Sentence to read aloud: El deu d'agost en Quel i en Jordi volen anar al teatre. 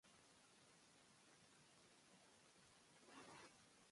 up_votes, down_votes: 0, 3